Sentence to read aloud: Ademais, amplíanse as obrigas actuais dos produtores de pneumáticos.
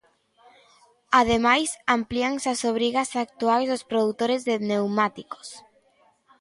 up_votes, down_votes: 2, 1